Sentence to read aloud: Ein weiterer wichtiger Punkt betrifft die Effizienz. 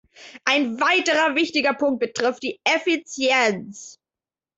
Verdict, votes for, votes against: accepted, 2, 0